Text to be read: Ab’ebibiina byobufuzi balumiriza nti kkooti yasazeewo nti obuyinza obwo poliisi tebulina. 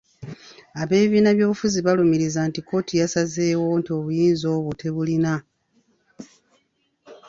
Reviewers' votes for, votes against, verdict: 0, 2, rejected